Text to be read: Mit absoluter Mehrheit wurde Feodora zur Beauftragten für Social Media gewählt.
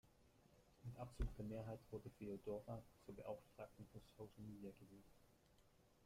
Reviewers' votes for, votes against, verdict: 1, 2, rejected